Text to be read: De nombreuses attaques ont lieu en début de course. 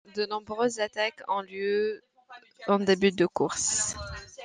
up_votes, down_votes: 2, 0